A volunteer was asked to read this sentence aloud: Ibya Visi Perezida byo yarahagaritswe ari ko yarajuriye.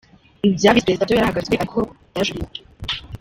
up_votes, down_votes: 0, 3